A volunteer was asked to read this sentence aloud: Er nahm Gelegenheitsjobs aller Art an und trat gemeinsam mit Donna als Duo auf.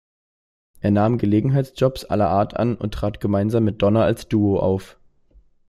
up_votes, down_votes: 2, 0